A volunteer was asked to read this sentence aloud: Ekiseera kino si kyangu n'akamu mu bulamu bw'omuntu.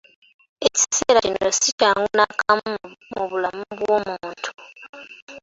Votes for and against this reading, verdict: 2, 1, accepted